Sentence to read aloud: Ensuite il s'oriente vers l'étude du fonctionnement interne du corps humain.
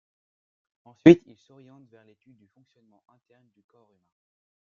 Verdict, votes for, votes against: rejected, 0, 2